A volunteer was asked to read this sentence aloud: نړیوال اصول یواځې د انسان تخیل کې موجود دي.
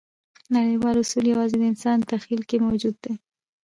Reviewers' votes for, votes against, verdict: 2, 1, accepted